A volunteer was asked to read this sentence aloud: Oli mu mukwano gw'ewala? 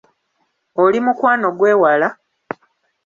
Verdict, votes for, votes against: rejected, 1, 2